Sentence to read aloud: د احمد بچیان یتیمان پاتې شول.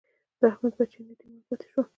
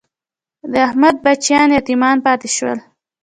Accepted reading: second